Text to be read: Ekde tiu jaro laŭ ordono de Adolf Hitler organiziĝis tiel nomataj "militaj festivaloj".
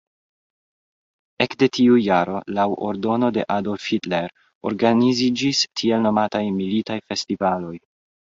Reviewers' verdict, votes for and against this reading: rejected, 1, 2